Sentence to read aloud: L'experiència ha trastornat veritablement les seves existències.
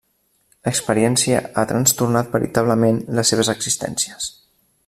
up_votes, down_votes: 2, 1